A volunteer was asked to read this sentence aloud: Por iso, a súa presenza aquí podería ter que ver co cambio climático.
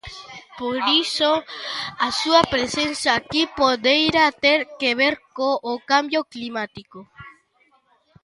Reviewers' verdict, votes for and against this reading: rejected, 0, 2